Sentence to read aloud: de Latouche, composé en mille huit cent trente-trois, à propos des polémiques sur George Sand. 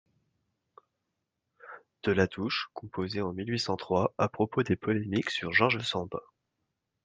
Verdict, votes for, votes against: rejected, 0, 2